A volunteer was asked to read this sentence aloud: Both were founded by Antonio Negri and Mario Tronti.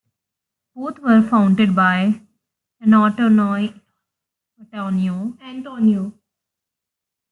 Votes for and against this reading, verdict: 0, 2, rejected